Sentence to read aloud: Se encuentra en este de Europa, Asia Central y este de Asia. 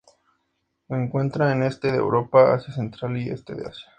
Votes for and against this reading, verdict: 2, 0, accepted